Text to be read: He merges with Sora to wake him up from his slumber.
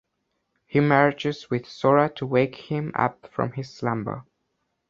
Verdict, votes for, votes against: accepted, 2, 0